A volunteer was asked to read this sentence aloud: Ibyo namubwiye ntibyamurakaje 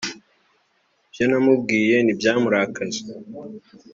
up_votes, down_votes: 3, 0